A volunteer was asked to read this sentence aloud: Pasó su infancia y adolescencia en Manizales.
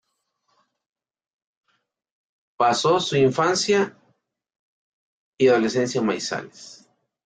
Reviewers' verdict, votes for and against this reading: rejected, 0, 2